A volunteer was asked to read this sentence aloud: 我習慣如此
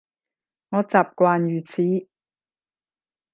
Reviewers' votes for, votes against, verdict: 5, 10, rejected